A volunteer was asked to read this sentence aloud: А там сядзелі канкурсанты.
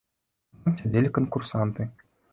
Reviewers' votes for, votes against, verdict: 0, 2, rejected